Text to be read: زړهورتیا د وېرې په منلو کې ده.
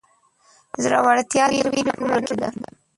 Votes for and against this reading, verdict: 0, 2, rejected